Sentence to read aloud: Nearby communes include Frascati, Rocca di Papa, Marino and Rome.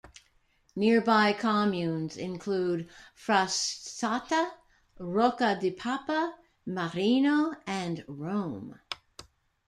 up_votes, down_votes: 1, 2